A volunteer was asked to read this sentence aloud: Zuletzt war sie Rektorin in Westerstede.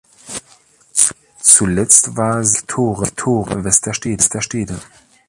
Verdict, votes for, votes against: rejected, 0, 2